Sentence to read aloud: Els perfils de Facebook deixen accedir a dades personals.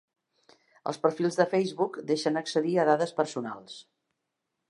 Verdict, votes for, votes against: accepted, 2, 0